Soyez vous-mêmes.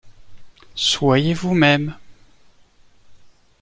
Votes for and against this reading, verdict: 2, 0, accepted